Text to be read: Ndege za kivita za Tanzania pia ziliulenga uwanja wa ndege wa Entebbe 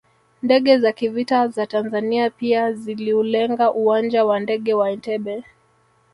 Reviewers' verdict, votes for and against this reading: rejected, 1, 2